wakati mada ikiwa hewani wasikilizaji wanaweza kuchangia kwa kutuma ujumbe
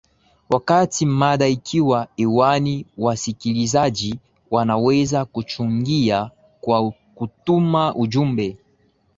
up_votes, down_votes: 2, 1